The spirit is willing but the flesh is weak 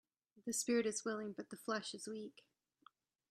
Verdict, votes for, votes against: accepted, 2, 0